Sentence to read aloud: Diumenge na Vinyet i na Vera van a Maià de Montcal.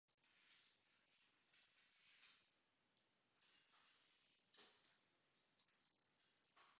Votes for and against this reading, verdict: 0, 2, rejected